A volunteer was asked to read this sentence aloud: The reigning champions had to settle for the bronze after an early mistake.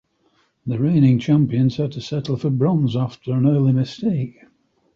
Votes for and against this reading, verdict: 1, 2, rejected